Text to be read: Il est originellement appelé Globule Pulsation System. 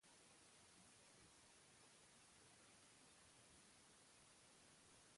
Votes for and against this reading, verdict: 0, 2, rejected